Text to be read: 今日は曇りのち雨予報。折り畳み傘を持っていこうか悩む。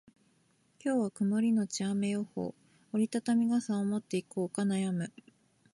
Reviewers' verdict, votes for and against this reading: accepted, 2, 0